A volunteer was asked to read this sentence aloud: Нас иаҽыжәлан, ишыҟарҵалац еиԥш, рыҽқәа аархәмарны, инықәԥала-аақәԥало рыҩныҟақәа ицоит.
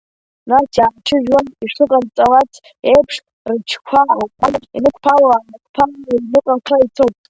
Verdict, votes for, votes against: rejected, 0, 2